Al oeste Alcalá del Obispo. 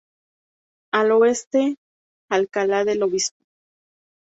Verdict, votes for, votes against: accepted, 2, 0